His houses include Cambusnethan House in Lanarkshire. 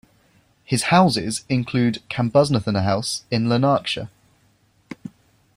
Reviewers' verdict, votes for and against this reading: accepted, 2, 0